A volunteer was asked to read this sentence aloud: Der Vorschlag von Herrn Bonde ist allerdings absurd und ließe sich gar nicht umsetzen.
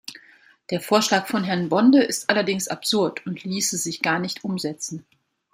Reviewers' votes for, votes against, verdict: 2, 0, accepted